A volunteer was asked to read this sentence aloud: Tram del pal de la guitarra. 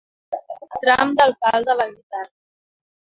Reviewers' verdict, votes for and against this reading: rejected, 0, 2